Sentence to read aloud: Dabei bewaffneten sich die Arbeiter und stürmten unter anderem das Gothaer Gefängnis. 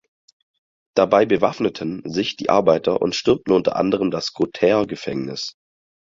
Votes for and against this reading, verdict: 2, 4, rejected